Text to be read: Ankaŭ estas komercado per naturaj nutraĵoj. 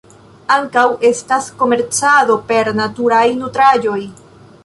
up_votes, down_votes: 1, 2